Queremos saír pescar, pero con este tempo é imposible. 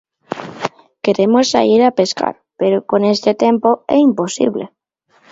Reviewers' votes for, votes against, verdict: 0, 2, rejected